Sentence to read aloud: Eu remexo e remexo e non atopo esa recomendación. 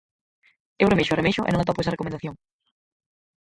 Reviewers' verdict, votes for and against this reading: rejected, 0, 4